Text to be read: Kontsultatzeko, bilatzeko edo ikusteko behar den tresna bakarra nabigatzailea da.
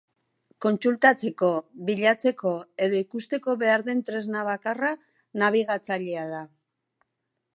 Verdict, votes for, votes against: accepted, 2, 0